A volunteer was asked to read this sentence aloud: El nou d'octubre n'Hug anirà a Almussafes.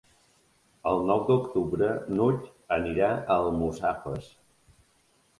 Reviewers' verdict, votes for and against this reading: accepted, 2, 0